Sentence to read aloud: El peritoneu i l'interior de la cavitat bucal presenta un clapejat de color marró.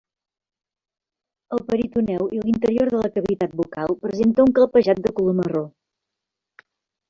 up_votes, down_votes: 0, 2